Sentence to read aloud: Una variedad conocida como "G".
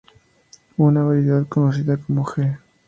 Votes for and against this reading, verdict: 2, 0, accepted